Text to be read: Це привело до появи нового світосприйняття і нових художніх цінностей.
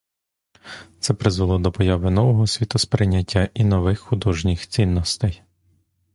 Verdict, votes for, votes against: rejected, 0, 2